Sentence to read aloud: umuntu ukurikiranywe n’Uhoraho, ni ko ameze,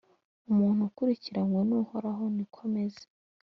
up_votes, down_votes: 2, 0